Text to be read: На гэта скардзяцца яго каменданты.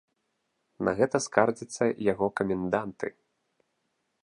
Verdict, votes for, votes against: accepted, 2, 0